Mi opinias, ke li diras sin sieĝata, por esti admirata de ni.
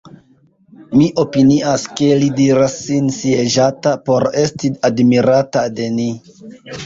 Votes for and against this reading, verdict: 0, 2, rejected